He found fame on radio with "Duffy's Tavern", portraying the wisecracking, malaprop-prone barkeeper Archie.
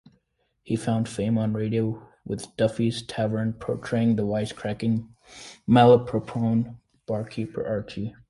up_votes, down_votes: 2, 0